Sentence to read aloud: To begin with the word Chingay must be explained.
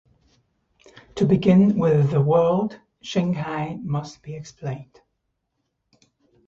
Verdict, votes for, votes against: rejected, 0, 2